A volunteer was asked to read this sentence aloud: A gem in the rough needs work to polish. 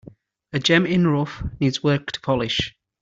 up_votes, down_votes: 2, 1